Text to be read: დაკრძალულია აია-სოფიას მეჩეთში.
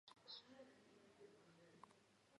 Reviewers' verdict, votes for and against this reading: rejected, 0, 2